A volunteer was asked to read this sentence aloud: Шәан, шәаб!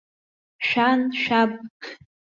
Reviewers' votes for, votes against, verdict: 1, 2, rejected